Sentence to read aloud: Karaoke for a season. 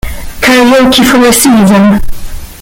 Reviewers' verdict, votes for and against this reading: rejected, 1, 2